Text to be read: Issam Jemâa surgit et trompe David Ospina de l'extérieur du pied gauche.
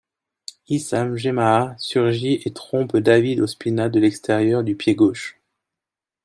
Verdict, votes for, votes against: accepted, 2, 0